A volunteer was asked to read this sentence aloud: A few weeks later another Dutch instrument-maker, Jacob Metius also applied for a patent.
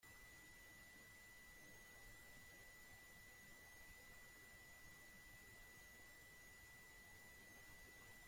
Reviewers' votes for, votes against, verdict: 0, 2, rejected